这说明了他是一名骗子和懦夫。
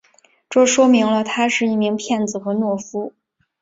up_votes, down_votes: 2, 0